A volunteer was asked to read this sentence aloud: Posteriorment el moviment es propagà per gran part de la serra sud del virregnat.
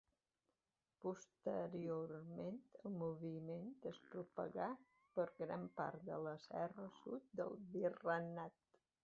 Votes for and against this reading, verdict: 2, 1, accepted